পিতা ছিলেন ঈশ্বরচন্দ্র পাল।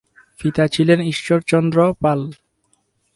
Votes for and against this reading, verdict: 2, 2, rejected